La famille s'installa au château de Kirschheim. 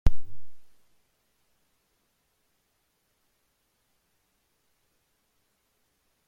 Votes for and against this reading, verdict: 1, 2, rejected